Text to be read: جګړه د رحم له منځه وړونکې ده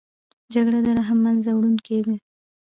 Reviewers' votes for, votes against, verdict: 2, 0, accepted